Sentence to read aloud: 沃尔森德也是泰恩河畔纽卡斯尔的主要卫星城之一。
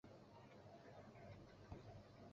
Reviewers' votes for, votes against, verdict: 0, 4, rejected